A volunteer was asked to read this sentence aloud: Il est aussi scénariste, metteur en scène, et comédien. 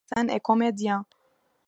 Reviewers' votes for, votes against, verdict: 0, 2, rejected